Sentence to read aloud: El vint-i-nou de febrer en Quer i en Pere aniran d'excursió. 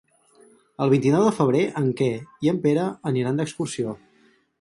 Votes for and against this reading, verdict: 4, 2, accepted